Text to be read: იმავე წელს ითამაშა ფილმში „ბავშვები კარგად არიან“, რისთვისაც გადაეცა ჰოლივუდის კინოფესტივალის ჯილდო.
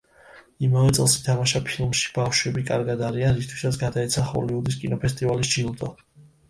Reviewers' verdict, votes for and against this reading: accepted, 2, 0